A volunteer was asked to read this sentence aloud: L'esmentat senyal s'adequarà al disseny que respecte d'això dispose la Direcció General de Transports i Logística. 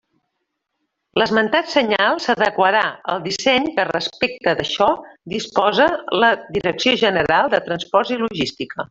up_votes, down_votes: 1, 2